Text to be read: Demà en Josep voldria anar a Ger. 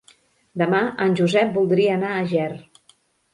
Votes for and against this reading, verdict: 3, 0, accepted